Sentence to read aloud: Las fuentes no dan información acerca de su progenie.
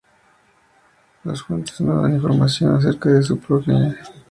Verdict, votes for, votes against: rejected, 0, 2